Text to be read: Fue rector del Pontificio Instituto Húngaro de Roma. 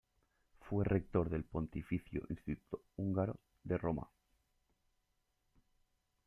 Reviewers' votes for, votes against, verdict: 2, 0, accepted